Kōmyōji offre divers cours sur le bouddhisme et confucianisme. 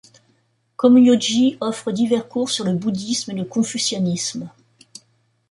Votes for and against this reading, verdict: 0, 2, rejected